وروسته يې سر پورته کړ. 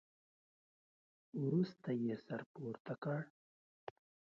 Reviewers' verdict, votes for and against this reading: accepted, 2, 0